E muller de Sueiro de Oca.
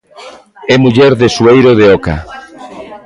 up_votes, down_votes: 2, 0